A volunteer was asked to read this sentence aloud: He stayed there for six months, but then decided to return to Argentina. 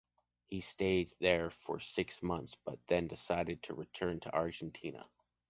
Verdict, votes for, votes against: accepted, 2, 0